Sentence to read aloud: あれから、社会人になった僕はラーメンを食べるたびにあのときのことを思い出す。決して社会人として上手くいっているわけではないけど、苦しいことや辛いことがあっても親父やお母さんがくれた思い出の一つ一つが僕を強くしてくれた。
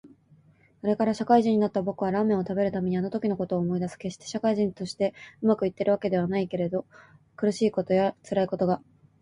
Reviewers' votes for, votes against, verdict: 1, 3, rejected